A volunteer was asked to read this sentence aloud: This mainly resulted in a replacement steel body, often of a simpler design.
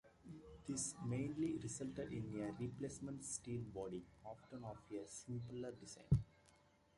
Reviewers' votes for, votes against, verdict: 2, 1, accepted